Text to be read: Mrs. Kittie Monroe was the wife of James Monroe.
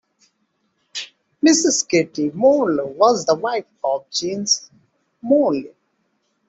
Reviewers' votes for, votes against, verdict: 0, 2, rejected